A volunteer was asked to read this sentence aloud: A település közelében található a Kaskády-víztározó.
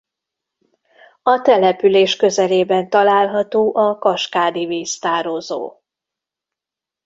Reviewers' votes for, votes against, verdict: 2, 0, accepted